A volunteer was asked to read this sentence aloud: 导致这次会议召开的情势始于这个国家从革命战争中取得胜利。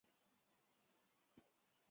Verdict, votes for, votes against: rejected, 0, 2